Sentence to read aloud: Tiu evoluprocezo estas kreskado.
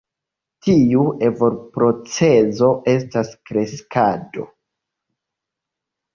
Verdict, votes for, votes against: accepted, 2, 1